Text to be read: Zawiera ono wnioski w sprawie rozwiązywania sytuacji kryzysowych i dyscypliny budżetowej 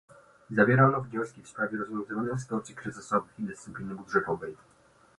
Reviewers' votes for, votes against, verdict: 1, 2, rejected